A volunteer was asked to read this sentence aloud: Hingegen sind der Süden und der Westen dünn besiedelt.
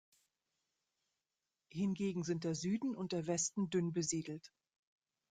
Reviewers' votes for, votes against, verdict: 2, 0, accepted